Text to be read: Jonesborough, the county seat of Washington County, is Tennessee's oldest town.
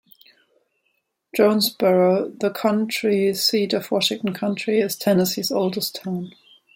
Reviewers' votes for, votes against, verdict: 0, 2, rejected